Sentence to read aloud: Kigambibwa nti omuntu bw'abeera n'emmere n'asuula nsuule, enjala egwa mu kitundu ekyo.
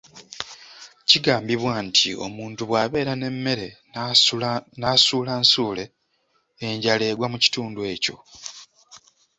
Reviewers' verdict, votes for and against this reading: accepted, 2, 0